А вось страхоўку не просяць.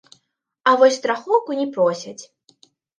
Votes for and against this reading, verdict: 0, 2, rejected